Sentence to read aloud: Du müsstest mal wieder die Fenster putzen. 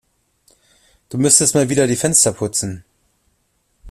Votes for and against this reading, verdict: 2, 0, accepted